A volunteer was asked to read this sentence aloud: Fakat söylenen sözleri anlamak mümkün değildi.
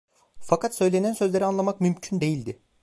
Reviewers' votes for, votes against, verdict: 2, 0, accepted